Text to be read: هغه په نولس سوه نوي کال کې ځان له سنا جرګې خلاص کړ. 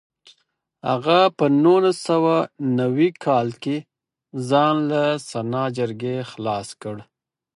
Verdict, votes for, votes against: accepted, 4, 0